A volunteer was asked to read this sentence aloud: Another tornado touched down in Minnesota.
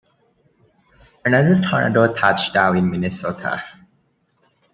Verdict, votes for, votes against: accepted, 2, 0